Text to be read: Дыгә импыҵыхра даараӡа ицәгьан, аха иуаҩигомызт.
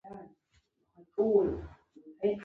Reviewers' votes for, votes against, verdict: 1, 2, rejected